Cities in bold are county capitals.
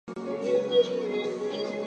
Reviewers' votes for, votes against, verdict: 0, 2, rejected